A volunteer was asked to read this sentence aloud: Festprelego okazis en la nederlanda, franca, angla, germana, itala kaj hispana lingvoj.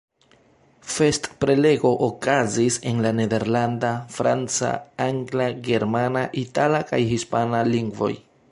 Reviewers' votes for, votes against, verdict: 2, 0, accepted